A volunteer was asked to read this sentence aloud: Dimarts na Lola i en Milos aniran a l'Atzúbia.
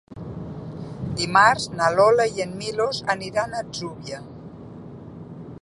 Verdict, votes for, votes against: rejected, 1, 2